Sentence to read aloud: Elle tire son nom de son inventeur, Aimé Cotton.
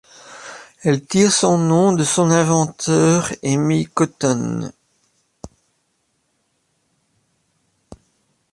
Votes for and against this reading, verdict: 2, 0, accepted